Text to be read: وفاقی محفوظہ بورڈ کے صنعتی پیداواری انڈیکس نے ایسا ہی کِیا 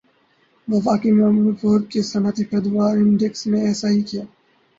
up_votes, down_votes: 2, 2